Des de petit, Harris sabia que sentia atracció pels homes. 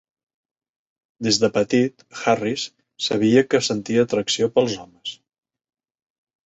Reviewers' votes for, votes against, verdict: 3, 0, accepted